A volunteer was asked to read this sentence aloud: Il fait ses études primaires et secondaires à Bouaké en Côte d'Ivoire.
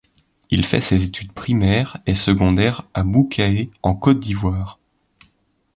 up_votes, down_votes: 1, 2